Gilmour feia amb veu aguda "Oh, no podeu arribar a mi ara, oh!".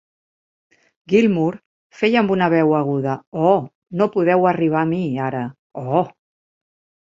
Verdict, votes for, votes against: rejected, 1, 2